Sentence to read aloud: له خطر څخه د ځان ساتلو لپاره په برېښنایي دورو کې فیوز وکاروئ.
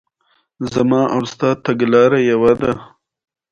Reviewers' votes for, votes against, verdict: 2, 0, accepted